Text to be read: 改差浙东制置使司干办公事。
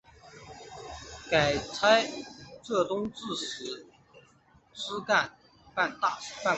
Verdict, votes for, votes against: rejected, 0, 2